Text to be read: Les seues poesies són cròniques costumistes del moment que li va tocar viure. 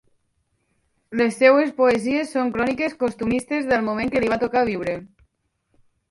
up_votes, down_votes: 0, 2